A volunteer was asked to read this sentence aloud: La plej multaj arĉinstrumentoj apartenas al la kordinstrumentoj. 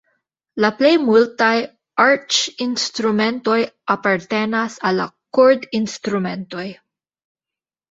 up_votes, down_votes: 2, 0